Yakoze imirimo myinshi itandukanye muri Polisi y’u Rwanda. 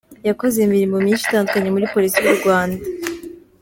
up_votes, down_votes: 2, 0